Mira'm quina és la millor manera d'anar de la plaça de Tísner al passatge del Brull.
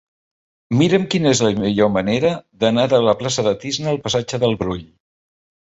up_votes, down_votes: 2, 0